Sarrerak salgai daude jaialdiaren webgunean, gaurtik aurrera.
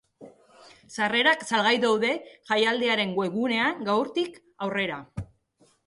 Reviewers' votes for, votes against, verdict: 2, 0, accepted